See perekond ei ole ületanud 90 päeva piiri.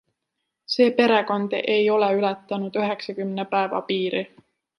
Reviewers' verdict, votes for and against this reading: rejected, 0, 2